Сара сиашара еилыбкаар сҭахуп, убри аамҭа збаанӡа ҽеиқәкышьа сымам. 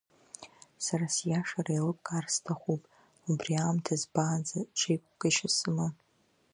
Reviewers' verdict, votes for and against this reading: rejected, 1, 2